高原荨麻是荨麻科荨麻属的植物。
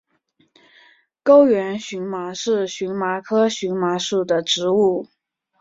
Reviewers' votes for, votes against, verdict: 5, 0, accepted